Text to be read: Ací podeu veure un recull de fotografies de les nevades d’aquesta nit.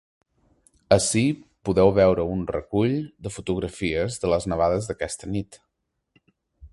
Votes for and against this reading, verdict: 3, 0, accepted